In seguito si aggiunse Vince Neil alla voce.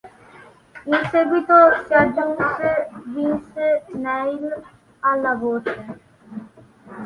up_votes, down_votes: 2, 0